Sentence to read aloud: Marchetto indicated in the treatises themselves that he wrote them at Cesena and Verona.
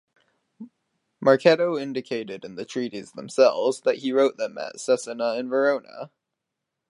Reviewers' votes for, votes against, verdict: 2, 2, rejected